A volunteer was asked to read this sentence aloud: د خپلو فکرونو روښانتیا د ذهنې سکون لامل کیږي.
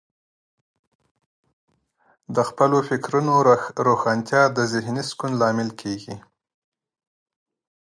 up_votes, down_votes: 3, 0